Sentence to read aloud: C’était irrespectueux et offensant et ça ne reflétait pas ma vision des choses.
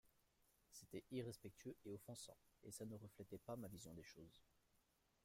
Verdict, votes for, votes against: accepted, 3, 1